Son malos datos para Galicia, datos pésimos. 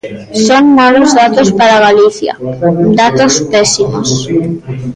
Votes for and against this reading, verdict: 1, 2, rejected